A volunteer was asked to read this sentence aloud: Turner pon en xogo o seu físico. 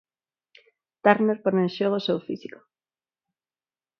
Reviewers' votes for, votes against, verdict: 4, 0, accepted